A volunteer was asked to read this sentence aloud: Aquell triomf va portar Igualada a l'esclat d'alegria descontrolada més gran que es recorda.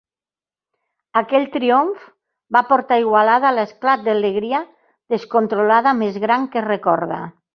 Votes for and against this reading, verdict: 2, 1, accepted